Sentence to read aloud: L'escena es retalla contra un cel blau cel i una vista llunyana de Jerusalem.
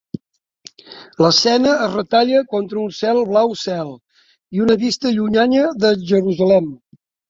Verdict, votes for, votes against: rejected, 0, 2